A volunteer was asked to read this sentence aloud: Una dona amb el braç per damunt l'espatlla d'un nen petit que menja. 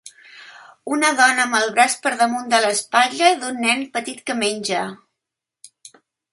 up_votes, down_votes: 2, 1